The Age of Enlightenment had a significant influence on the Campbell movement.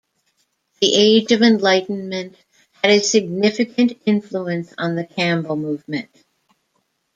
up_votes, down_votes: 1, 2